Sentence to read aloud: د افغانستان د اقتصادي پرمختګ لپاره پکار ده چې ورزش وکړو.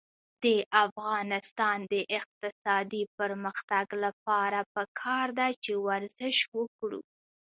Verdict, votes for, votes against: accepted, 2, 1